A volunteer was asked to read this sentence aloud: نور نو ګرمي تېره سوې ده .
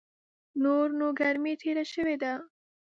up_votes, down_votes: 1, 2